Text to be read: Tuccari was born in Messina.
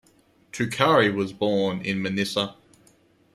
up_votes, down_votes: 1, 2